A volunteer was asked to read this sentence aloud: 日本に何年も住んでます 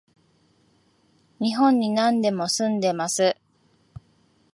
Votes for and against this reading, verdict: 1, 2, rejected